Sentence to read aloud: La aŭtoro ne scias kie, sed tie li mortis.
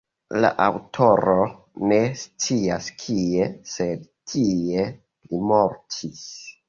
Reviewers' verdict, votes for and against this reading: accepted, 2, 1